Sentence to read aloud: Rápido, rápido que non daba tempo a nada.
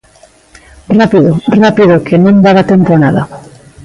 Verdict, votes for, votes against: accepted, 2, 0